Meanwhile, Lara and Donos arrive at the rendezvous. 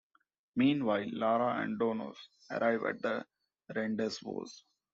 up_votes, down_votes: 0, 2